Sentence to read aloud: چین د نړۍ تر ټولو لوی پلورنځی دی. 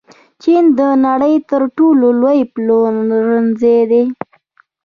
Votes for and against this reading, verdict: 1, 2, rejected